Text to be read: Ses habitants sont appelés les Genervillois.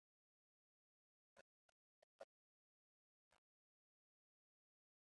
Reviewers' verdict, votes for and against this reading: rejected, 0, 2